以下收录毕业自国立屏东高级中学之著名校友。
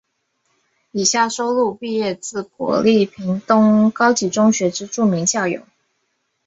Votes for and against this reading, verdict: 2, 0, accepted